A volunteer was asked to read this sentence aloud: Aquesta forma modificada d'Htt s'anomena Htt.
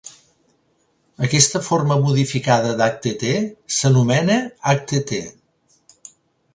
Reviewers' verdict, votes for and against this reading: rejected, 0, 2